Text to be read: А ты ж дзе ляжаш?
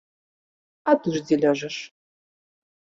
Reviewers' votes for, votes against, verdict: 3, 0, accepted